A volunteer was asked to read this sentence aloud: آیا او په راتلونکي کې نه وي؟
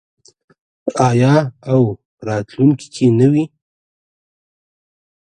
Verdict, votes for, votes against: accepted, 2, 1